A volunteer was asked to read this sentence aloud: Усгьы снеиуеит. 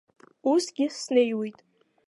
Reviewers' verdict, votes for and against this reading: accepted, 2, 0